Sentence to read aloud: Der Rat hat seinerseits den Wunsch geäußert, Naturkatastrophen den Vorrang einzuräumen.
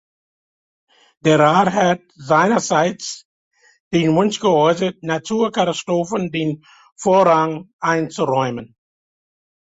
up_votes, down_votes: 2, 0